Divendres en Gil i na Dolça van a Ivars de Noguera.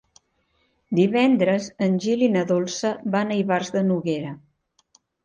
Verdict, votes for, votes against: accepted, 3, 0